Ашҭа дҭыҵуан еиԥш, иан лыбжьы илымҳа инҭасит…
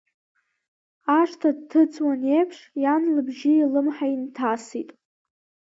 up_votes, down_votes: 2, 0